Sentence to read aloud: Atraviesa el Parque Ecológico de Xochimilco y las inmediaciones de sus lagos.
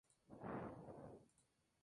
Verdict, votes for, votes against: rejected, 0, 2